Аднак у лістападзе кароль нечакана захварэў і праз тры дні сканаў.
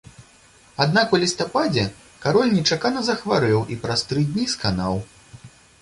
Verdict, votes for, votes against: accepted, 2, 0